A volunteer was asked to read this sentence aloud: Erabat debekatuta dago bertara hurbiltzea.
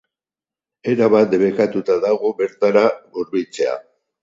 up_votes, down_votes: 4, 0